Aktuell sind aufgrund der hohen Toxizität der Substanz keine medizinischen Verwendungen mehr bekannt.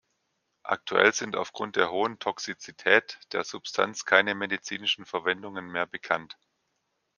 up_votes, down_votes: 2, 0